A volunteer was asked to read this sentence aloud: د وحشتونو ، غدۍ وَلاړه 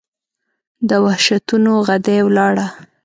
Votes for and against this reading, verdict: 2, 0, accepted